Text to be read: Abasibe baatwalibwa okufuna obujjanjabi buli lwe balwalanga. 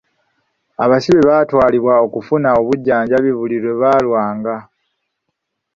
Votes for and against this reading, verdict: 1, 2, rejected